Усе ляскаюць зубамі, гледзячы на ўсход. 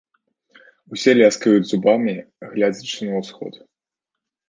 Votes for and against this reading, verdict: 0, 2, rejected